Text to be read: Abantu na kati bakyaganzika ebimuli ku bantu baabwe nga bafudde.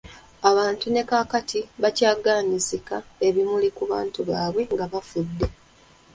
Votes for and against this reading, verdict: 0, 2, rejected